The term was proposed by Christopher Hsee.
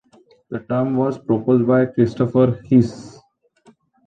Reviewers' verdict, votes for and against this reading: accepted, 2, 0